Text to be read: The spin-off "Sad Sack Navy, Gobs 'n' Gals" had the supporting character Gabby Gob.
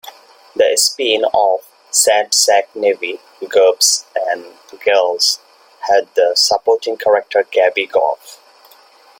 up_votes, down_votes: 2, 0